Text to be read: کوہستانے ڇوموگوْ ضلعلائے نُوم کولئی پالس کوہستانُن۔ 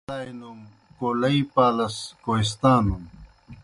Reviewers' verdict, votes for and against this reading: rejected, 0, 2